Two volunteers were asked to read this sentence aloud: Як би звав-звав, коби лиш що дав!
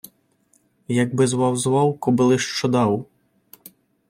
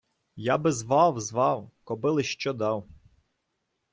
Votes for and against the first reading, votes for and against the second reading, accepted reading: 2, 0, 1, 2, first